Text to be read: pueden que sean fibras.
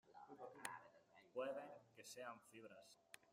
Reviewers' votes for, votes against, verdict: 0, 2, rejected